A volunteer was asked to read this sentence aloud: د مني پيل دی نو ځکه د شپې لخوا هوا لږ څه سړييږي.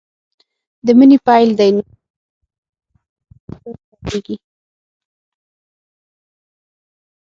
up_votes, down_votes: 0, 6